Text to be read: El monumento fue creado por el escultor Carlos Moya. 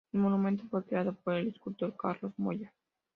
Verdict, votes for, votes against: accepted, 2, 0